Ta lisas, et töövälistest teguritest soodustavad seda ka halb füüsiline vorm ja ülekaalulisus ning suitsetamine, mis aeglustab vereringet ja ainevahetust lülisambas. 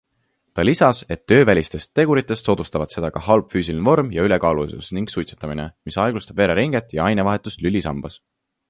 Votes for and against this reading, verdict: 2, 0, accepted